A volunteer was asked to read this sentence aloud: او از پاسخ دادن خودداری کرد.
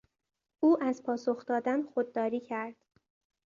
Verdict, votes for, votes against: accepted, 2, 0